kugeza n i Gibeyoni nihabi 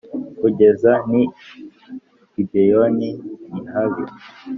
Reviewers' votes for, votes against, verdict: 3, 0, accepted